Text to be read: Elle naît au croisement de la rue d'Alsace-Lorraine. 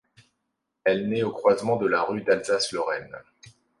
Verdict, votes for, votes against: accepted, 2, 0